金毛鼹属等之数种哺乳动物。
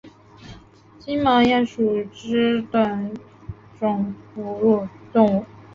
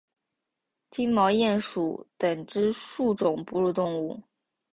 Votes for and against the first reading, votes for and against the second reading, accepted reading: 0, 2, 6, 1, second